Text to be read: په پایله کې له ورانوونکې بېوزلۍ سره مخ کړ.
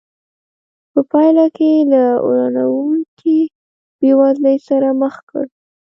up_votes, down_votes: 0, 2